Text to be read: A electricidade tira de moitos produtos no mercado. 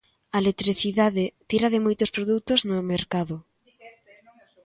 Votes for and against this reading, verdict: 2, 0, accepted